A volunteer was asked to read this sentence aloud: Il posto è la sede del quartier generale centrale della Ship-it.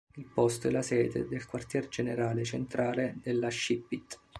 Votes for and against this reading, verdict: 2, 0, accepted